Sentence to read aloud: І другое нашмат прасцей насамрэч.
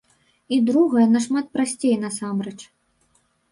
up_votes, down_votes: 0, 2